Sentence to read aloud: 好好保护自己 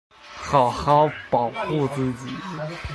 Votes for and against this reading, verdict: 2, 1, accepted